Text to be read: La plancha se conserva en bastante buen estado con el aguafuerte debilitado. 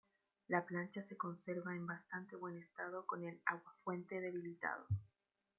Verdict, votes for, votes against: accepted, 2, 1